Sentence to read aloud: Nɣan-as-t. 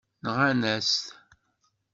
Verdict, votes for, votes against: accepted, 2, 0